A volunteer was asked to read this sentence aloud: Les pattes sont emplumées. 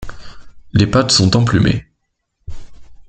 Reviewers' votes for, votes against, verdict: 2, 0, accepted